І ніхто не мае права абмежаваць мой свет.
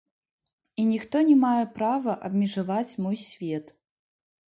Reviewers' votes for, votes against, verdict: 0, 2, rejected